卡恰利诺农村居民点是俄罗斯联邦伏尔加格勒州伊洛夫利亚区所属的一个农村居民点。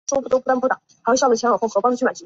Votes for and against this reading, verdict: 0, 3, rejected